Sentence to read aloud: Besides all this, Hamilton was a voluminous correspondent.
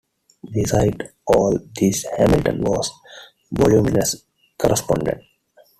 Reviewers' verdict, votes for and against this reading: accepted, 2, 1